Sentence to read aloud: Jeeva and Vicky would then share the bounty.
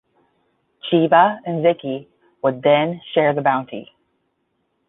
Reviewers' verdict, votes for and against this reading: accepted, 10, 0